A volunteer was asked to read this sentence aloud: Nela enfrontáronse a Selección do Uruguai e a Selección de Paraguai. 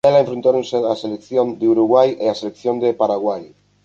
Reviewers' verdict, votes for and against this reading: rejected, 0, 2